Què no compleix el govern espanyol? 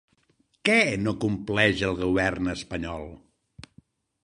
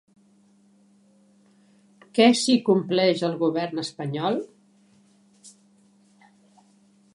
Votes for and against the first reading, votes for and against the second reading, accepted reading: 3, 0, 0, 2, first